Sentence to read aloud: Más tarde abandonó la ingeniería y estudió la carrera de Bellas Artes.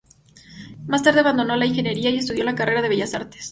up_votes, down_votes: 2, 0